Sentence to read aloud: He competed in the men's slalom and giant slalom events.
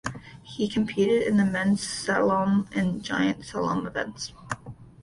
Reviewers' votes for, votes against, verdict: 0, 2, rejected